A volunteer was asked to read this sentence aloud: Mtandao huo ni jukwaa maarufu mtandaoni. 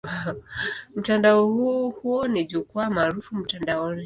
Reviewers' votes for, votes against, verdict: 2, 0, accepted